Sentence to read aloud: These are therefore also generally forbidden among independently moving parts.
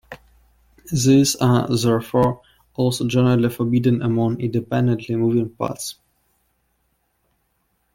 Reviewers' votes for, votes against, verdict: 2, 0, accepted